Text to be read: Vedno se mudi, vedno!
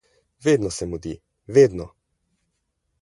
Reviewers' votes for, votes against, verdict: 20, 0, accepted